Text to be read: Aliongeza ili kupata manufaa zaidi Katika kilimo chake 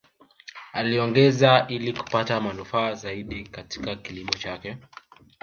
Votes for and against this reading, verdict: 2, 0, accepted